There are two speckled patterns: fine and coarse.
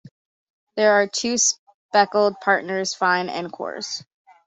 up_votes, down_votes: 1, 3